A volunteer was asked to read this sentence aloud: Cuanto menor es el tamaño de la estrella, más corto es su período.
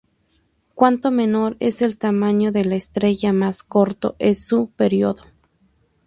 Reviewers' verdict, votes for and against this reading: rejected, 0, 2